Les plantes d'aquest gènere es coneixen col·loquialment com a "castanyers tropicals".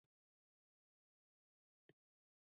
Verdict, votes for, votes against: rejected, 0, 2